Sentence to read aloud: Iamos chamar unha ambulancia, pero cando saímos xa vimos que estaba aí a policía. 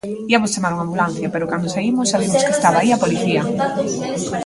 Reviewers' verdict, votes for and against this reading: rejected, 1, 2